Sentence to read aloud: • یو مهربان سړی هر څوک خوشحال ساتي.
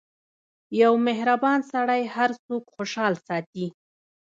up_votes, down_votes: 1, 2